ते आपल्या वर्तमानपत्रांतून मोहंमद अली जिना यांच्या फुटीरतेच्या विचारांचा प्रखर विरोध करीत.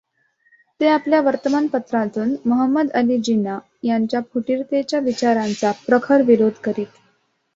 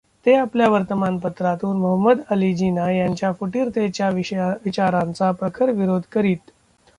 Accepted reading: first